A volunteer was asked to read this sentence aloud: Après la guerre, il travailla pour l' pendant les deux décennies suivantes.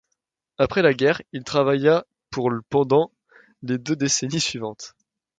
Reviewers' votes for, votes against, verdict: 0, 2, rejected